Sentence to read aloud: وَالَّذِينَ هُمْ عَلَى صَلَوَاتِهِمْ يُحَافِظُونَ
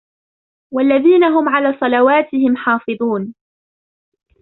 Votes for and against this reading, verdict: 0, 2, rejected